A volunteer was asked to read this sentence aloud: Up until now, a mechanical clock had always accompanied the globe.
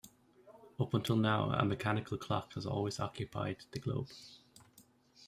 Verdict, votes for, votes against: accepted, 3, 0